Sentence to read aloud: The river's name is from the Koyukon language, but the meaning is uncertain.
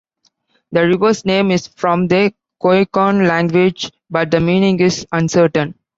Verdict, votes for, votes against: accepted, 2, 1